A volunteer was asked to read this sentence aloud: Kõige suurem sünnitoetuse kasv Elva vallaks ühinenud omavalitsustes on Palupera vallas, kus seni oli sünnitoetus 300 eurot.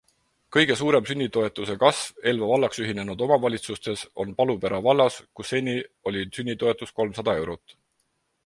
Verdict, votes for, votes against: rejected, 0, 2